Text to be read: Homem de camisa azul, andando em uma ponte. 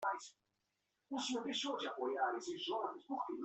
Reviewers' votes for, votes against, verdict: 0, 2, rejected